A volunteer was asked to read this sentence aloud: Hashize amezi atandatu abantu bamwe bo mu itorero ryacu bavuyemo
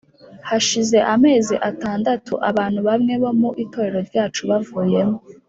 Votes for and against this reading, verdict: 3, 0, accepted